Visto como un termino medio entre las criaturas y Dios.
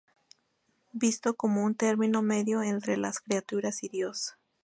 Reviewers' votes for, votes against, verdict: 2, 0, accepted